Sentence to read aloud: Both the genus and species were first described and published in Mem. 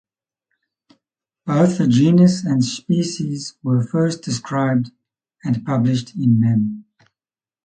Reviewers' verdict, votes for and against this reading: accepted, 4, 0